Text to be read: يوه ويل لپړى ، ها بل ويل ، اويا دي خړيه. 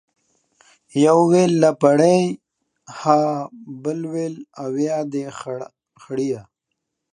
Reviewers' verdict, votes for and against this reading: accepted, 2, 0